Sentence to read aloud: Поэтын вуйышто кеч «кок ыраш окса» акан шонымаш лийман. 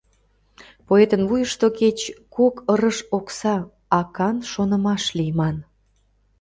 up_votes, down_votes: 0, 2